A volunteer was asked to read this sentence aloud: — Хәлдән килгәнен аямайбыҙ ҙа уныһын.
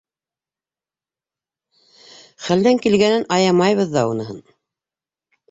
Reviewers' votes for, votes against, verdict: 2, 0, accepted